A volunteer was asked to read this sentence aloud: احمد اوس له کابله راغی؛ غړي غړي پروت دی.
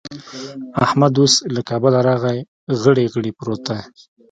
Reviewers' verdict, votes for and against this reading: accepted, 2, 0